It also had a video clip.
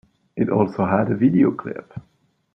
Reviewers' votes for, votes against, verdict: 2, 0, accepted